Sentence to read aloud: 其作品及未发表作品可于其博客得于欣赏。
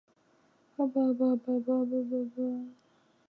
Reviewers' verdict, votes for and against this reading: rejected, 0, 2